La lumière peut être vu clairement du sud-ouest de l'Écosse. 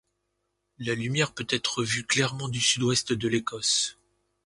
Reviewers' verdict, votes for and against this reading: accepted, 2, 0